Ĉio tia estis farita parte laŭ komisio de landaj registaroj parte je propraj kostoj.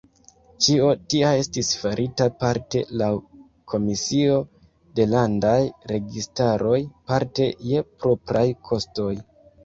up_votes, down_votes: 2, 1